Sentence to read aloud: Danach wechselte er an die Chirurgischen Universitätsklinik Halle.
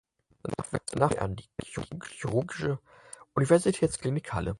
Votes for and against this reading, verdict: 0, 4, rejected